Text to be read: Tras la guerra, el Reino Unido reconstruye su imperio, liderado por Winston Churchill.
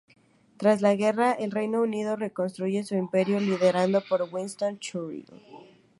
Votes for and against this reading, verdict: 4, 0, accepted